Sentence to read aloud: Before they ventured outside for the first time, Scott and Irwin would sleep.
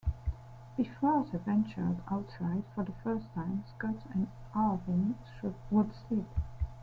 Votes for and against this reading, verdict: 1, 2, rejected